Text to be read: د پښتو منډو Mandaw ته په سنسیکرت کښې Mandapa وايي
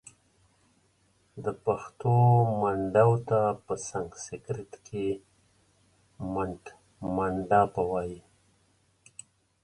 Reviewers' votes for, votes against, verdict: 1, 2, rejected